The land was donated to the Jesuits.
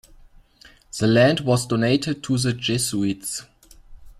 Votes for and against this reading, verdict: 2, 1, accepted